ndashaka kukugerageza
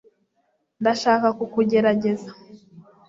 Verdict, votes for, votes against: accepted, 2, 0